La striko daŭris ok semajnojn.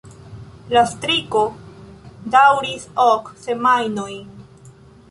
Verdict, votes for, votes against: accepted, 2, 1